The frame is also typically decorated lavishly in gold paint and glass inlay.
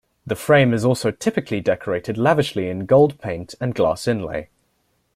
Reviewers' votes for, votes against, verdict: 2, 0, accepted